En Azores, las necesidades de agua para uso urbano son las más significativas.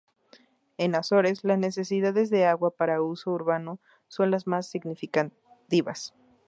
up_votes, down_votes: 0, 4